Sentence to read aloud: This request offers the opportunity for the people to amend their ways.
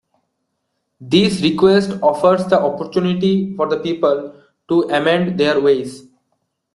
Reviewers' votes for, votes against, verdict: 2, 0, accepted